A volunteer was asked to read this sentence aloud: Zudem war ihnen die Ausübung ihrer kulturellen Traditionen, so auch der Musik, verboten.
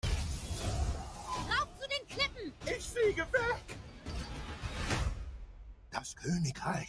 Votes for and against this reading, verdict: 0, 2, rejected